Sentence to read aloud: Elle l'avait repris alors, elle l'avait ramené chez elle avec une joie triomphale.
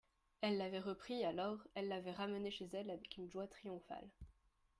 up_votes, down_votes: 3, 0